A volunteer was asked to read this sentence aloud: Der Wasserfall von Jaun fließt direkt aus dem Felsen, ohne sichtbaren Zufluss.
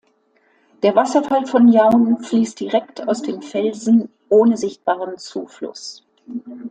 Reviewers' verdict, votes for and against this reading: accepted, 2, 0